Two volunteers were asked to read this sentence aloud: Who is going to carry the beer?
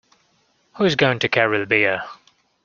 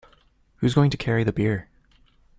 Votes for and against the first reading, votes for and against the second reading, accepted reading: 2, 0, 0, 2, first